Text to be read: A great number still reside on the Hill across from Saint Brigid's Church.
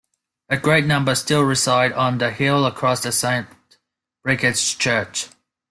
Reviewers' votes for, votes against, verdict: 0, 2, rejected